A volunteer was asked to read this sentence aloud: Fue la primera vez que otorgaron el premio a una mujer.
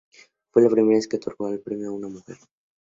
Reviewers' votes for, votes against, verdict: 2, 0, accepted